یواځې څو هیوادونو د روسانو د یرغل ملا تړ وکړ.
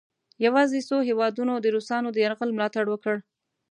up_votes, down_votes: 2, 0